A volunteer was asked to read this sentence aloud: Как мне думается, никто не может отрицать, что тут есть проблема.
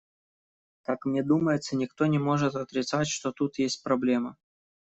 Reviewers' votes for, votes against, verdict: 2, 0, accepted